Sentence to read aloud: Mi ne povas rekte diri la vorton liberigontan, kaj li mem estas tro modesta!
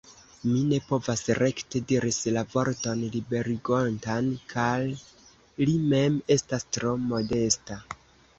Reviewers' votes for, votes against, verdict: 1, 2, rejected